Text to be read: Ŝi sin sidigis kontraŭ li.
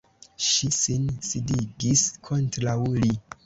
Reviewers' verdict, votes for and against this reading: accepted, 2, 1